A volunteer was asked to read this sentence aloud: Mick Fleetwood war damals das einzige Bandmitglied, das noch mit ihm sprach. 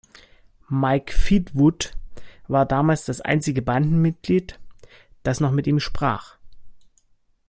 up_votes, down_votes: 0, 2